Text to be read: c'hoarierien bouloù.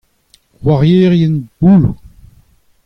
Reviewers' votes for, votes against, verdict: 2, 0, accepted